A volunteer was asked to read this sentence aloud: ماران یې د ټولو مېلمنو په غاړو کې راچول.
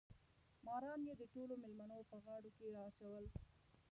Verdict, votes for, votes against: rejected, 1, 2